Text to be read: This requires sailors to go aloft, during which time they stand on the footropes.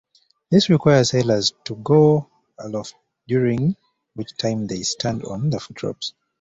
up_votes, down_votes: 2, 0